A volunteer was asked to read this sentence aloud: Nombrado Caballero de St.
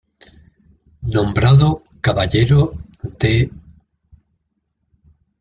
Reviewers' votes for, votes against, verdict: 1, 2, rejected